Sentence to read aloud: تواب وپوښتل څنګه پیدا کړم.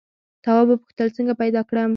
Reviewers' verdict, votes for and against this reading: accepted, 2, 0